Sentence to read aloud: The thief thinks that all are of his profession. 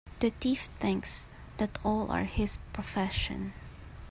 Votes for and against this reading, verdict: 0, 2, rejected